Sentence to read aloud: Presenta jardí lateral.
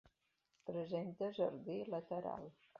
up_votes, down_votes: 2, 0